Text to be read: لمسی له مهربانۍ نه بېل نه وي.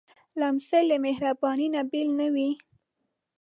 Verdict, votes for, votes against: accepted, 2, 1